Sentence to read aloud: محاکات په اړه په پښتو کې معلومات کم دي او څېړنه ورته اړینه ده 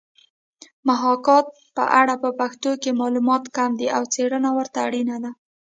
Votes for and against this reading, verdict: 0, 2, rejected